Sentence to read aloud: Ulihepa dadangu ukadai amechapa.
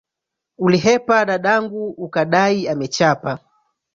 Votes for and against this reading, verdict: 0, 2, rejected